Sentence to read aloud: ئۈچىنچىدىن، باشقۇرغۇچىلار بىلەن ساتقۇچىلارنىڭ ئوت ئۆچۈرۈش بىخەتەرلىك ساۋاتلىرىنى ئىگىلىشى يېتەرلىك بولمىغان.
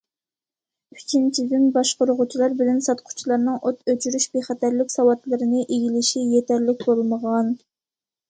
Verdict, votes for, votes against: accepted, 2, 0